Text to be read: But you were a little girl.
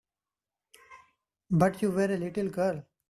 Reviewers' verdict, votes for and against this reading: accepted, 3, 0